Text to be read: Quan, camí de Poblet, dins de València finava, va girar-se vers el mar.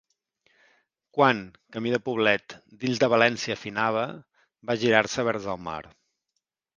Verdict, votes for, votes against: accepted, 3, 0